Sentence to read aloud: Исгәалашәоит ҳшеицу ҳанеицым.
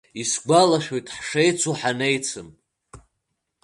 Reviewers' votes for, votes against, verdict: 2, 1, accepted